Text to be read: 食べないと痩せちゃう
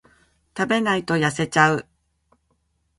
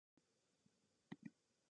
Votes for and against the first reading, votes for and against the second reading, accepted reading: 2, 1, 0, 2, first